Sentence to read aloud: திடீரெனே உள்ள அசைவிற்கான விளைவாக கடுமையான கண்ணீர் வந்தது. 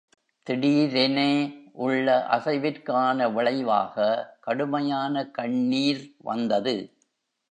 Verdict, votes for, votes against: accepted, 2, 0